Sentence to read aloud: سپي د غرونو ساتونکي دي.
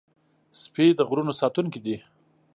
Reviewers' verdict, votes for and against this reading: accepted, 2, 0